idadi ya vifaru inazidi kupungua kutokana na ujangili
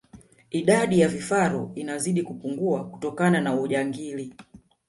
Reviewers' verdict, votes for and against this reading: accepted, 2, 0